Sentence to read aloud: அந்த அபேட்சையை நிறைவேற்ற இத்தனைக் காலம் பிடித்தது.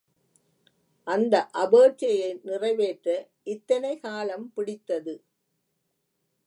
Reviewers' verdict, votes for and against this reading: rejected, 1, 2